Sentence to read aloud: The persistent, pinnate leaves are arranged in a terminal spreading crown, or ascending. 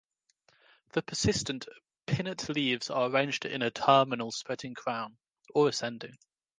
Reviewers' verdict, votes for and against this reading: accepted, 2, 0